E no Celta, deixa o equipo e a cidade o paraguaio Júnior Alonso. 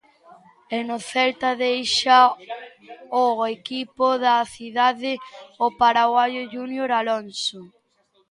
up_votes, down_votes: 0, 2